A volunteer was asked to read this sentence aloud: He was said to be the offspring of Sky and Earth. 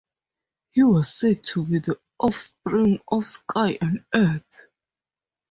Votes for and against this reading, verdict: 4, 0, accepted